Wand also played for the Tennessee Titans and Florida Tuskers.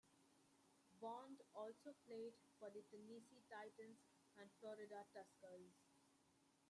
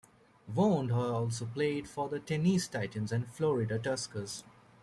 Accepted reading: second